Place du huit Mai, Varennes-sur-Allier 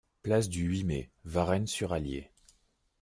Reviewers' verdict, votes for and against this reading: accepted, 2, 0